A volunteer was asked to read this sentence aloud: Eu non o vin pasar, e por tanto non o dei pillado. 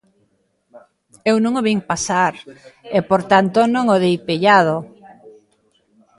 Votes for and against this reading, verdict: 1, 2, rejected